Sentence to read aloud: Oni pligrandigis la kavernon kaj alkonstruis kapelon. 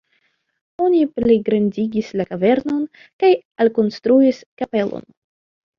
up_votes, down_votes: 2, 0